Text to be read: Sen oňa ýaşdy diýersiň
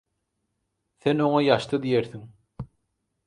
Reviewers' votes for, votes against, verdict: 4, 0, accepted